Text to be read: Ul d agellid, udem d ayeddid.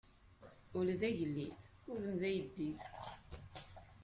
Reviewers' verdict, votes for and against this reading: rejected, 1, 2